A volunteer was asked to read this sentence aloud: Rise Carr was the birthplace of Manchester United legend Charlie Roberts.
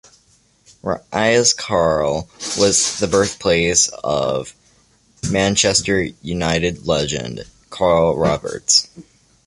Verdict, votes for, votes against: rejected, 0, 2